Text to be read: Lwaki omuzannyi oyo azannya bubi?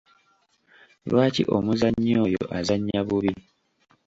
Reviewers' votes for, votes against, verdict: 1, 2, rejected